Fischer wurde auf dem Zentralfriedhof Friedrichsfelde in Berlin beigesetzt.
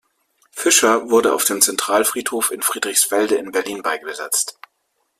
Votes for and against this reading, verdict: 0, 2, rejected